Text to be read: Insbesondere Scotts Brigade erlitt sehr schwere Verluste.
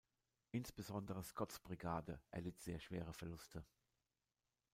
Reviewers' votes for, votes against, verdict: 2, 0, accepted